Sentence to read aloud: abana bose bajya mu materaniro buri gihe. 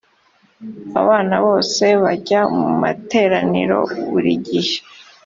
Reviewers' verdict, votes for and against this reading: accepted, 2, 0